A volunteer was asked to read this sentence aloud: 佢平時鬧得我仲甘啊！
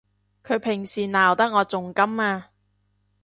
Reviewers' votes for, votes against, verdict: 2, 0, accepted